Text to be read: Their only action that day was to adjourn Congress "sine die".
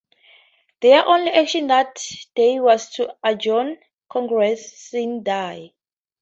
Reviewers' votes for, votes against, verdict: 2, 0, accepted